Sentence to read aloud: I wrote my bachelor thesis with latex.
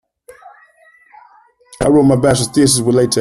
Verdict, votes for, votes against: rejected, 1, 2